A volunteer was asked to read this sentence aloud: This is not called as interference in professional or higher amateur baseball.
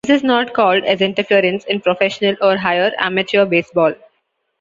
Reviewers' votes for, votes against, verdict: 0, 2, rejected